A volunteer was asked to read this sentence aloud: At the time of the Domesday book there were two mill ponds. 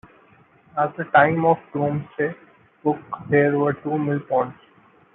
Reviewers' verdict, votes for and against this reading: rejected, 1, 2